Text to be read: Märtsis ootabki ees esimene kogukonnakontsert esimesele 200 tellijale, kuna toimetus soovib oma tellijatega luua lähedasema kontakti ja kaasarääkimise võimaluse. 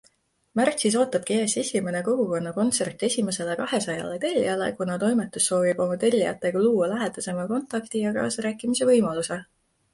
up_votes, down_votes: 0, 2